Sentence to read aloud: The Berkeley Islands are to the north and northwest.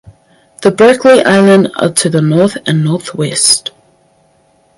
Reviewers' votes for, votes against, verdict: 2, 4, rejected